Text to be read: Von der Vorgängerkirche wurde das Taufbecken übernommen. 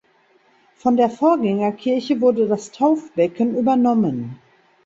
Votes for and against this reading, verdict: 2, 0, accepted